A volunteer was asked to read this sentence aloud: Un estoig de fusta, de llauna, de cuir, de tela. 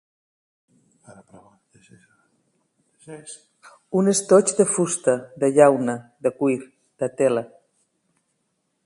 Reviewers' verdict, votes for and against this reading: rejected, 1, 2